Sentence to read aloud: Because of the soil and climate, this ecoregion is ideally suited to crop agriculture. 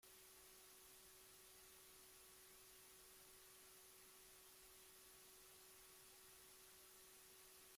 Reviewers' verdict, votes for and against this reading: rejected, 1, 2